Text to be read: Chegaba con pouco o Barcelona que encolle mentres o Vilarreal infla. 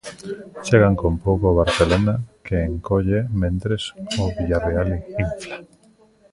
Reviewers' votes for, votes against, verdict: 1, 2, rejected